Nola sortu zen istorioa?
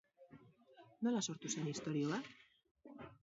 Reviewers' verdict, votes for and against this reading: rejected, 2, 2